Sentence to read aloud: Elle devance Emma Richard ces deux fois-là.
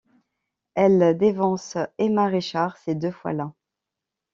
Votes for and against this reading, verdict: 0, 2, rejected